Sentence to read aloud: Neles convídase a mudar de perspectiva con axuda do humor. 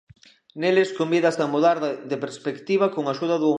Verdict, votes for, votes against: rejected, 0, 2